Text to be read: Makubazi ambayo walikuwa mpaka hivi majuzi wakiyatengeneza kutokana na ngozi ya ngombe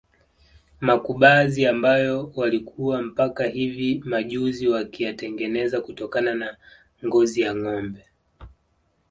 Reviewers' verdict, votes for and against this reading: accepted, 2, 0